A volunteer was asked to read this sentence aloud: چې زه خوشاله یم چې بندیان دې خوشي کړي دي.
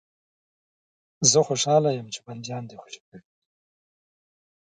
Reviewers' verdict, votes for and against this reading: accepted, 2, 1